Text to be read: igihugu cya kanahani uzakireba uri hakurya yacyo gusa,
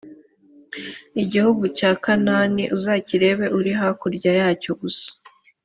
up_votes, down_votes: 4, 2